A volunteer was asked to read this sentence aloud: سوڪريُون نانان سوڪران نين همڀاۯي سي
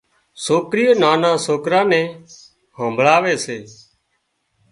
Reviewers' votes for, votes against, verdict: 0, 2, rejected